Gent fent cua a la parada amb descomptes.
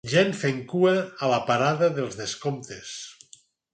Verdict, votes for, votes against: rejected, 0, 4